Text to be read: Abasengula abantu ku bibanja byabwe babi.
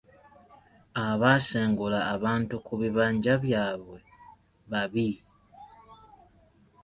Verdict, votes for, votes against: accepted, 2, 0